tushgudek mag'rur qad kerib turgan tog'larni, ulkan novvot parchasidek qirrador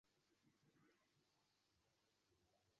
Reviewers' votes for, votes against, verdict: 0, 2, rejected